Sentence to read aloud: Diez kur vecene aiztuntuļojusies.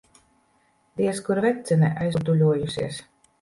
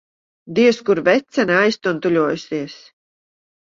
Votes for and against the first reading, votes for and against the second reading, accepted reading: 0, 2, 2, 0, second